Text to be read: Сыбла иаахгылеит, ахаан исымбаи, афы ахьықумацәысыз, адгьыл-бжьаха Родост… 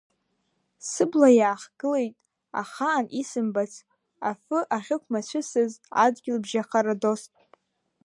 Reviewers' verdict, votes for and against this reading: rejected, 0, 2